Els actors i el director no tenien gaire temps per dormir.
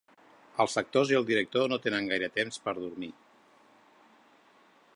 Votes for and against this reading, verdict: 0, 2, rejected